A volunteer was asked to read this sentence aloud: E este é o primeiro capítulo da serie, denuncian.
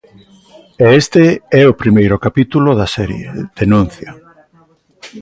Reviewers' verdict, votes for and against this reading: accepted, 2, 1